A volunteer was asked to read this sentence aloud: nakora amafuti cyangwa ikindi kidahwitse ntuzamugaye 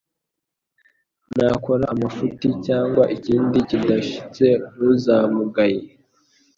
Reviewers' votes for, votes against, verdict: 2, 1, accepted